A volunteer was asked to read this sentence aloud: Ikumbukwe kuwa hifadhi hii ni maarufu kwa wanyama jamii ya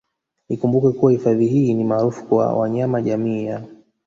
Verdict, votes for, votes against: rejected, 1, 2